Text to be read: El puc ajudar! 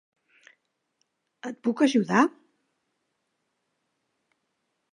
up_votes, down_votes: 2, 1